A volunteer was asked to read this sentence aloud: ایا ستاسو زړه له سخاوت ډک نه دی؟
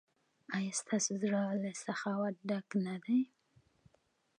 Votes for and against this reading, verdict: 2, 0, accepted